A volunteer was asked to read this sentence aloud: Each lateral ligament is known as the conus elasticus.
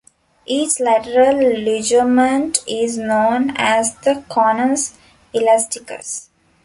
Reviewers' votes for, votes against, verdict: 0, 2, rejected